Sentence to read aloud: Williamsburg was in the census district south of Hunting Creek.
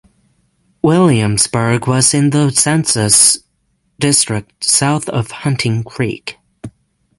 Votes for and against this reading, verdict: 6, 0, accepted